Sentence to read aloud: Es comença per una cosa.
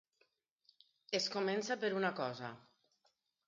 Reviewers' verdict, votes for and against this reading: accepted, 4, 0